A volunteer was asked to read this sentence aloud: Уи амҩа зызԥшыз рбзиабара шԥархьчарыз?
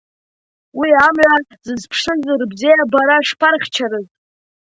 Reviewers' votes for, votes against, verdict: 2, 1, accepted